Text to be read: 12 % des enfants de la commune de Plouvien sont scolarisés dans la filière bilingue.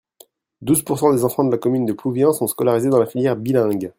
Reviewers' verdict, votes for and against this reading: rejected, 0, 2